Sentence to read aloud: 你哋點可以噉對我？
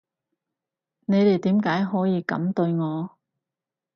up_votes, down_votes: 0, 4